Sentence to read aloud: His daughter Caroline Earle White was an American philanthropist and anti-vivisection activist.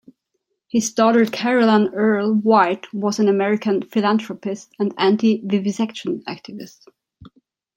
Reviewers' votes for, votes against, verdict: 2, 0, accepted